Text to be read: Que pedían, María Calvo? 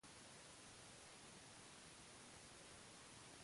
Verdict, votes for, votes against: rejected, 0, 2